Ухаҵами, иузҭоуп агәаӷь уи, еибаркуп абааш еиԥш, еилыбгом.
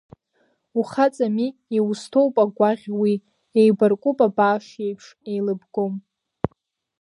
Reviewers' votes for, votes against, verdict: 0, 2, rejected